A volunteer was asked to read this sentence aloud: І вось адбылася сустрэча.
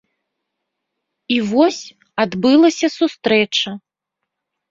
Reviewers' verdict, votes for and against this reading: rejected, 0, 2